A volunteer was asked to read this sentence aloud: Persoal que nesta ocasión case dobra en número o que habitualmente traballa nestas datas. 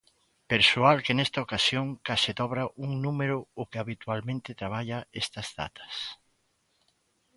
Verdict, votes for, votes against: rejected, 0, 2